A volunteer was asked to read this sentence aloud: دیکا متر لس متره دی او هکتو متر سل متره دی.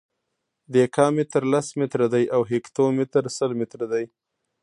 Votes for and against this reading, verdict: 0, 2, rejected